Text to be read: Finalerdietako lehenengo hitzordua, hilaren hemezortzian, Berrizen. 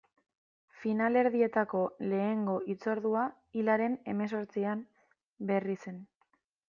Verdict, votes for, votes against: rejected, 1, 2